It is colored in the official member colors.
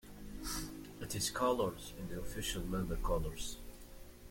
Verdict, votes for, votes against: accepted, 2, 1